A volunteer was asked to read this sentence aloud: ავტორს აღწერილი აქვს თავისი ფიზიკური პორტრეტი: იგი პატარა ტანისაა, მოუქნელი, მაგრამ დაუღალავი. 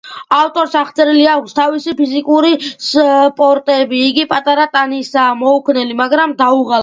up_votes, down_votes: 2, 1